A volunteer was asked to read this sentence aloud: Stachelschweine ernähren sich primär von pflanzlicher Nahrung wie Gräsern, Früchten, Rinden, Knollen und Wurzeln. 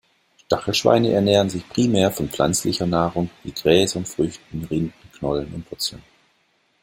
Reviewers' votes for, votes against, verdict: 0, 2, rejected